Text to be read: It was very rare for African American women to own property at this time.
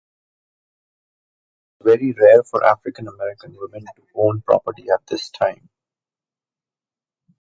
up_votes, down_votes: 1, 2